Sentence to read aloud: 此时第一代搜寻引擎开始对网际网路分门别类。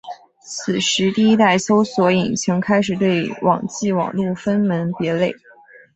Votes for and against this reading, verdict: 5, 0, accepted